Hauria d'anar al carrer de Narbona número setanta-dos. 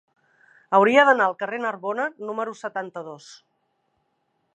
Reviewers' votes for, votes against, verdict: 0, 2, rejected